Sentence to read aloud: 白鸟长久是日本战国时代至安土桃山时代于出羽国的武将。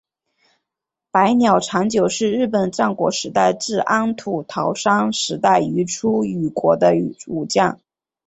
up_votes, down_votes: 2, 0